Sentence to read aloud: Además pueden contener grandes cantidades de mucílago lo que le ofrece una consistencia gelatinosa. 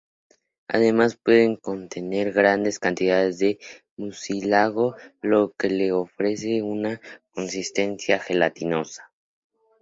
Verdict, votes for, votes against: accepted, 2, 0